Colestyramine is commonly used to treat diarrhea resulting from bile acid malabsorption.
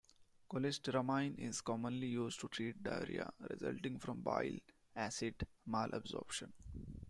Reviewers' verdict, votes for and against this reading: rejected, 0, 2